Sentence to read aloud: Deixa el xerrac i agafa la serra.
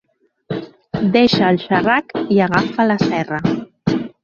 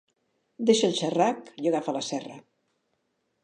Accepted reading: second